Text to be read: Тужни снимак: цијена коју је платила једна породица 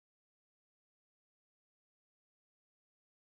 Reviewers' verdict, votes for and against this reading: rejected, 0, 2